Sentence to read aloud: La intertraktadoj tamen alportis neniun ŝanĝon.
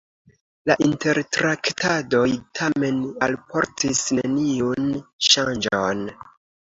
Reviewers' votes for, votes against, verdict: 2, 0, accepted